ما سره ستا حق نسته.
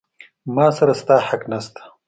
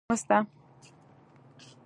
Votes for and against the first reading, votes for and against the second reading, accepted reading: 2, 0, 0, 2, first